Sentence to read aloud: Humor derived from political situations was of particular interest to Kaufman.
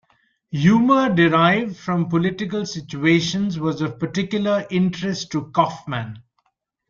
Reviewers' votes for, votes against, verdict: 2, 0, accepted